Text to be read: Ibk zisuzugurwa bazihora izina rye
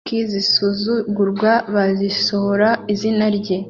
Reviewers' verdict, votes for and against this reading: rejected, 1, 2